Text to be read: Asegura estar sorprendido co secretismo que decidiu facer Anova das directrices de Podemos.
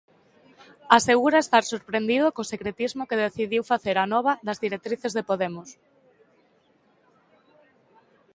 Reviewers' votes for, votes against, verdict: 2, 0, accepted